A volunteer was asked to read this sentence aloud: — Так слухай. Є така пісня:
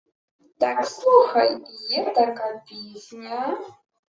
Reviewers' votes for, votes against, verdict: 0, 2, rejected